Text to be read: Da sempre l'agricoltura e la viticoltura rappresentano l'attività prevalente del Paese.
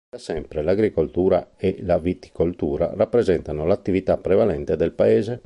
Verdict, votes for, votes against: rejected, 0, 2